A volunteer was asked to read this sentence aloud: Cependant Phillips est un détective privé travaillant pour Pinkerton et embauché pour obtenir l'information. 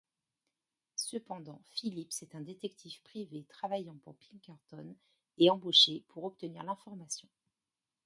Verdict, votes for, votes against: rejected, 1, 2